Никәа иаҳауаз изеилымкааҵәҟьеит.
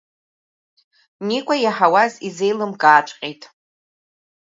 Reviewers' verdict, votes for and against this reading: accepted, 2, 0